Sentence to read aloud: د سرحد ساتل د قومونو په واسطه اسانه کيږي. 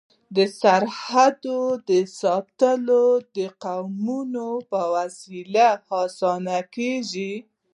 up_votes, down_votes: 2, 0